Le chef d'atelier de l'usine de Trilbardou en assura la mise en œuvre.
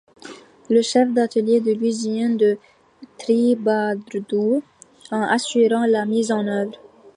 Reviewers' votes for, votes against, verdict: 1, 2, rejected